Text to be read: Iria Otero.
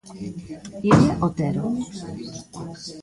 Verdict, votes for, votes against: accepted, 2, 0